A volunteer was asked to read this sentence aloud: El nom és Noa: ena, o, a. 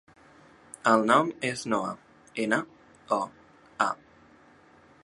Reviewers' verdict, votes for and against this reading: accepted, 2, 1